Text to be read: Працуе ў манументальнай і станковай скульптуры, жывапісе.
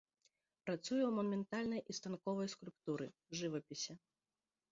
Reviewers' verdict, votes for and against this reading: accepted, 2, 0